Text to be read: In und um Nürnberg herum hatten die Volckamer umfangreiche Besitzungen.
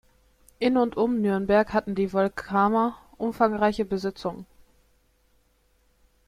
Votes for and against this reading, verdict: 0, 2, rejected